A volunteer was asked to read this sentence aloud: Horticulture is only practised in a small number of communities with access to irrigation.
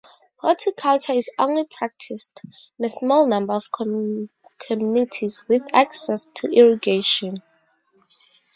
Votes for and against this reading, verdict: 4, 0, accepted